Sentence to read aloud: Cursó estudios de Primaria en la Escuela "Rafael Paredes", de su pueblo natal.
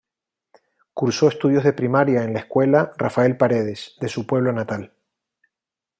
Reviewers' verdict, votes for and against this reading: accepted, 2, 0